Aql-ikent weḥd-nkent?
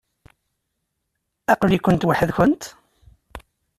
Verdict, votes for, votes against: accepted, 2, 0